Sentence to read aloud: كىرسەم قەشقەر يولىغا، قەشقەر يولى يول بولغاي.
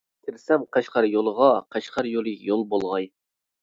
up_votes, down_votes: 2, 0